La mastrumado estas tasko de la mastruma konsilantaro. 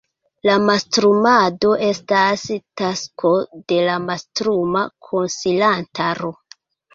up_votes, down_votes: 0, 2